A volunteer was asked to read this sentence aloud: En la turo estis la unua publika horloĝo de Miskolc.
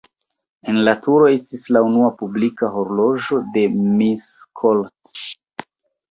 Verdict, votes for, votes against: rejected, 1, 2